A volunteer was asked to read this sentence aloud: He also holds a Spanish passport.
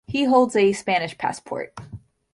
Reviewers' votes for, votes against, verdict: 1, 2, rejected